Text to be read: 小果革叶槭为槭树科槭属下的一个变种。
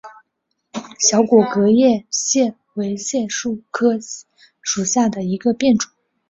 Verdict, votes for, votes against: accepted, 7, 1